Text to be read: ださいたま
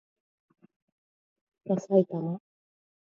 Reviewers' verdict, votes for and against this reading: accepted, 2, 0